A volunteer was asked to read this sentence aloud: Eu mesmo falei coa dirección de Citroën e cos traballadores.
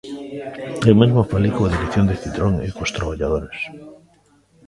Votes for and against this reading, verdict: 2, 0, accepted